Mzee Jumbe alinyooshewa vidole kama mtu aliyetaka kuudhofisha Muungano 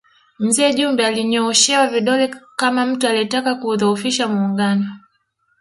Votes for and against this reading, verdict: 1, 3, rejected